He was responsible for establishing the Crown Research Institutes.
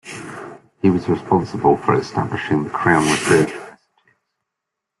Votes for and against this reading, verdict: 1, 2, rejected